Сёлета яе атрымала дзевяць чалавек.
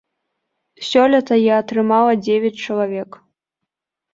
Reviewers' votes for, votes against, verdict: 1, 2, rejected